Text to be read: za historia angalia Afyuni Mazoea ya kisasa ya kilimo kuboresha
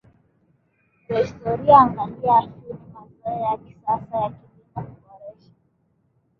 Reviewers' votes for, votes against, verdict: 0, 2, rejected